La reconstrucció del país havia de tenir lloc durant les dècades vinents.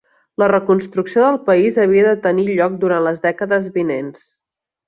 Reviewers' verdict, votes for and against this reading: accepted, 3, 0